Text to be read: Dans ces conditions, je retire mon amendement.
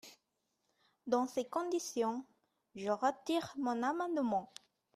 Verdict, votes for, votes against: rejected, 1, 2